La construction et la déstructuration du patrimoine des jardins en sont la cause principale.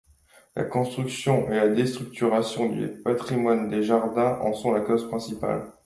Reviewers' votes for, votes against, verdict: 2, 0, accepted